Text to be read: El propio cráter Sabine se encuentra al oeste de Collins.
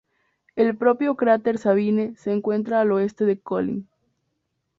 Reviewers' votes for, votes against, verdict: 4, 0, accepted